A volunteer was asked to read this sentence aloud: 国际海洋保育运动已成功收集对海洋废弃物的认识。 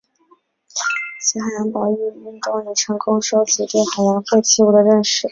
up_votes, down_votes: 2, 1